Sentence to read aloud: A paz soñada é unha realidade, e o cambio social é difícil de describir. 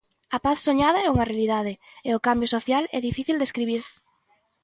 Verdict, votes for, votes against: rejected, 0, 2